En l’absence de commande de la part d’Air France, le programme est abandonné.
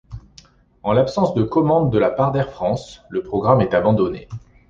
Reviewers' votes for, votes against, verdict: 2, 0, accepted